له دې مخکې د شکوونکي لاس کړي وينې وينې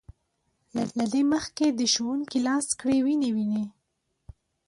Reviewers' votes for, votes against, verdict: 1, 2, rejected